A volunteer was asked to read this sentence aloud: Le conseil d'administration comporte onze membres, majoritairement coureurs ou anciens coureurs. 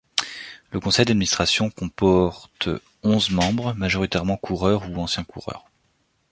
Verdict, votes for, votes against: rejected, 1, 2